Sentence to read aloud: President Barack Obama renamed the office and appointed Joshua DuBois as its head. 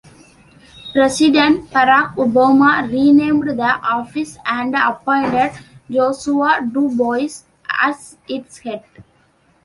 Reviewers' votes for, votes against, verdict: 2, 0, accepted